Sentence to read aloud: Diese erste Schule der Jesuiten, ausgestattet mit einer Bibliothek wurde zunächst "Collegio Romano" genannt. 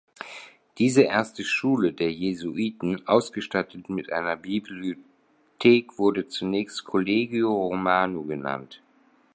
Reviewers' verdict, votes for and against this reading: rejected, 0, 2